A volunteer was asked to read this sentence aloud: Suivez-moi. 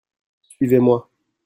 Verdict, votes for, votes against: accepted, 2, 1